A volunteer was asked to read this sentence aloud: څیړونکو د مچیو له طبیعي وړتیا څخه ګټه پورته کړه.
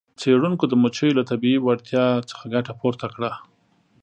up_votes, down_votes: 2, 0